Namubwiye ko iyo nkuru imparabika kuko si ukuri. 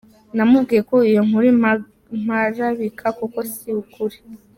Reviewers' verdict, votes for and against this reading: rejected, 0, 2